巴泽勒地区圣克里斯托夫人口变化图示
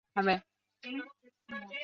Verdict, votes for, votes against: rejected, 3, 4